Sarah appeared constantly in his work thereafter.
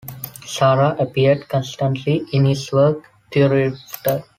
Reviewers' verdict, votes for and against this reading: rejected, 1, 2